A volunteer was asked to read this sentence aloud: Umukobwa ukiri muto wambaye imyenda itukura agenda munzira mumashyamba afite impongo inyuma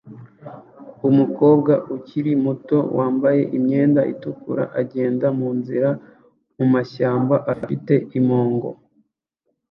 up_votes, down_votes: 0, 2